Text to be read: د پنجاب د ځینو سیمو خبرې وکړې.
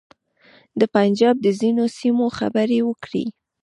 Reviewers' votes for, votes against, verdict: 2, 1, accepted